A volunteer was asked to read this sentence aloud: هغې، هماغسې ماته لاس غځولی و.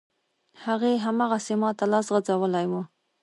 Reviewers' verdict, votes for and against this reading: accepted, 2, 1